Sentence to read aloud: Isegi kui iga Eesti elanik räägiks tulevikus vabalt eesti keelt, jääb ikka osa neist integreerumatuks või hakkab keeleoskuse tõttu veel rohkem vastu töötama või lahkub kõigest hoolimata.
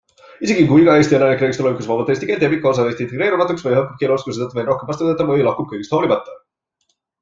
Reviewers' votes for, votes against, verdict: 2, 1, accepted